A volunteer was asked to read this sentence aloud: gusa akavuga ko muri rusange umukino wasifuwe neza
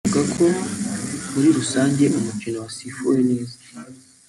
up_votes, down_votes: 0, 3